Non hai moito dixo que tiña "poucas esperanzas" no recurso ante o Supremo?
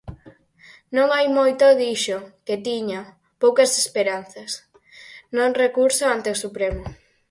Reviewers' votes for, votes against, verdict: 0, 4, rejected